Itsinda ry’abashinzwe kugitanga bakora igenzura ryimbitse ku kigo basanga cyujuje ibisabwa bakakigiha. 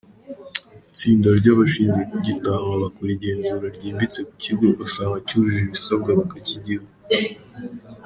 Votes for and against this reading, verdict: 0, 2, rejected